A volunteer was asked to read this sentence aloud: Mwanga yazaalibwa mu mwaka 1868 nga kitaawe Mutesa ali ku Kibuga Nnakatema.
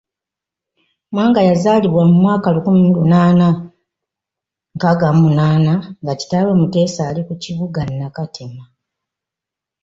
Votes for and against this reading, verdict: 0, 2, rejected